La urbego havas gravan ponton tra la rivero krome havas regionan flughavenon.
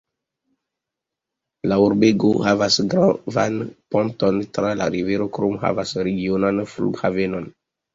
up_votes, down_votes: 2, 0